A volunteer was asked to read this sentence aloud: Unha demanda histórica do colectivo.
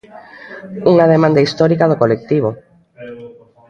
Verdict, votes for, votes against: rejected, 0, 2